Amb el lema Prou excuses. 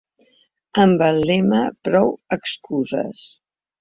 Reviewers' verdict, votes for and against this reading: accepted, 6, 0